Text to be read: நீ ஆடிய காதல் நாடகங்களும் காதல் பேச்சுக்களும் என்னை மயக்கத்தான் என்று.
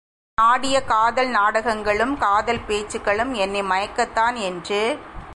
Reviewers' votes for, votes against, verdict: 1, 2, rejected